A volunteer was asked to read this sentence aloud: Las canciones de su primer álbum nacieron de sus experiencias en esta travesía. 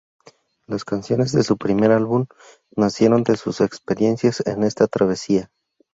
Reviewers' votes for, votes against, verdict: 2, 0, accepted